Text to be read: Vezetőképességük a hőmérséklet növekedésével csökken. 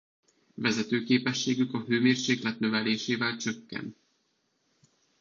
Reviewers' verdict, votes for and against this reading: rejected, 1, 2